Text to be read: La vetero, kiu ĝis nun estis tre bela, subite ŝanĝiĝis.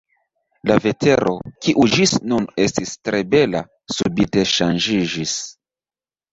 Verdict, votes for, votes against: accepted, 2, 0